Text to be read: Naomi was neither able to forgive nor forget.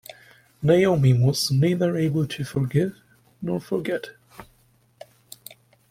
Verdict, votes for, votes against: accepted, 2, 0